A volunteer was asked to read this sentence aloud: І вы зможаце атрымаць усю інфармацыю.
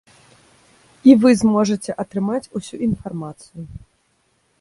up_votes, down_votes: 2, 0